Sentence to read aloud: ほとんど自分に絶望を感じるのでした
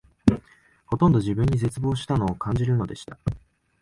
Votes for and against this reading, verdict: 6, 10, rejected